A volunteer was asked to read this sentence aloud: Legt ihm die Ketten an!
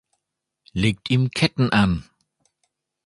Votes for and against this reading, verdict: 0, 2, rejected